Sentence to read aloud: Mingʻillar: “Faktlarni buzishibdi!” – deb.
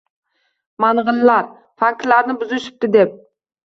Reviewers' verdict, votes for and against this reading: rejected, 0, 2